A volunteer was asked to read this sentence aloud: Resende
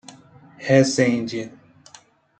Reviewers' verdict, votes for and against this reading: accepted, 2, 0